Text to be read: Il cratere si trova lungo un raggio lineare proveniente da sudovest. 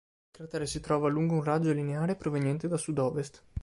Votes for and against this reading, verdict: 0, 2, rejected